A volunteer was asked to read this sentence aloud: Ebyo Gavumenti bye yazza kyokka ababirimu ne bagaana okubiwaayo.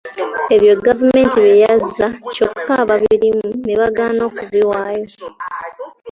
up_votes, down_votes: 1, 2